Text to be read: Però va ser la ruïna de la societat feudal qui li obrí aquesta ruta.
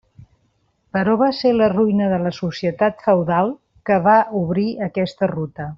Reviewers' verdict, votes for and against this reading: rejected, 0, 2